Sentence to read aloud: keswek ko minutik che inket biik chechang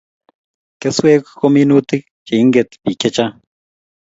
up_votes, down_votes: 2, 0